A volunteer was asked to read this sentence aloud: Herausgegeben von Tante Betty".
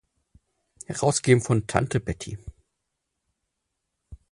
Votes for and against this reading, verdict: 2, 6, rejected